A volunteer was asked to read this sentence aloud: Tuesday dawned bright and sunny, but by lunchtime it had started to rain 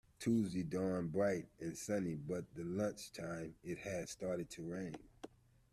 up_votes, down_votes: 0, 2